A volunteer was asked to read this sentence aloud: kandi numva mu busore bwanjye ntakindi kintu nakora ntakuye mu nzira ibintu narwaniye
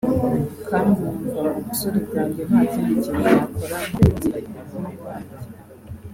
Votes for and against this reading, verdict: 0, 2, rejected